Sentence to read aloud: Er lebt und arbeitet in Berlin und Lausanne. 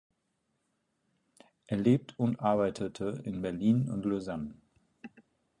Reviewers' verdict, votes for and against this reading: rejected, 0, 4